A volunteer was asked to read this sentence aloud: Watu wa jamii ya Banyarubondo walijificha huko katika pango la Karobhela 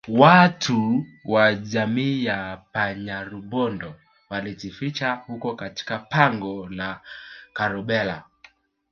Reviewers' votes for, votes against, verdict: 1, 2, rejected